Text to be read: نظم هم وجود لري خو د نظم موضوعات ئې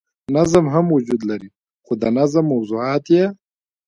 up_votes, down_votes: 0, 2